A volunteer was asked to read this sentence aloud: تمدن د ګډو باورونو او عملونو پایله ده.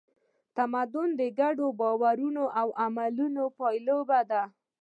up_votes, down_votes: 2, 0